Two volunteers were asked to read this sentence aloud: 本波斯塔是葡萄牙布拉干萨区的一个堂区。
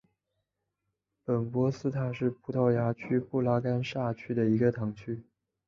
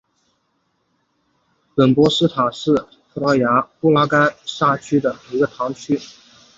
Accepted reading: second